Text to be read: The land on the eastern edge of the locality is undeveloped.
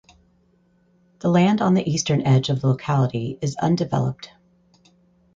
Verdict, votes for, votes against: accepted, 4, 0